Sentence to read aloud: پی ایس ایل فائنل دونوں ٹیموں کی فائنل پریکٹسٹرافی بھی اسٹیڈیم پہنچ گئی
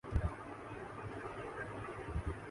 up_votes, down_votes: 4, 5